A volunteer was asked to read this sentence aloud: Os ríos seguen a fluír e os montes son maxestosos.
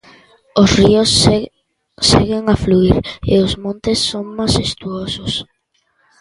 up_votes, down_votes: 0, 2